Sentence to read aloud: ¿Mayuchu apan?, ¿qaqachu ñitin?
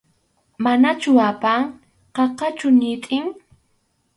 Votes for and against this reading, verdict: 2, 2, rejected